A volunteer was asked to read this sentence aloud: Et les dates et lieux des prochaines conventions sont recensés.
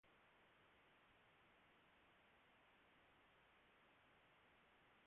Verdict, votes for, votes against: rejected, 0, 2